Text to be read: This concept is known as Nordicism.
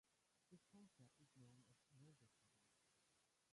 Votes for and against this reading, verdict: 0, 2, rejected